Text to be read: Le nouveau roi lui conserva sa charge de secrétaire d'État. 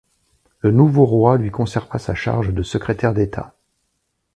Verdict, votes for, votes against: accepted, 2, 0